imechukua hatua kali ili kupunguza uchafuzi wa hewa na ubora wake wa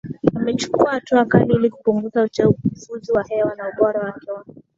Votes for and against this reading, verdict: 2, 0, accepted